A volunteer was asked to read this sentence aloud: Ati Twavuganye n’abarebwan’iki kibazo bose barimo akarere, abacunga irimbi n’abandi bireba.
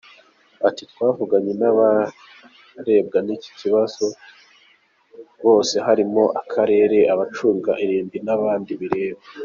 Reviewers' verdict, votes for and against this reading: rejected, 1, 2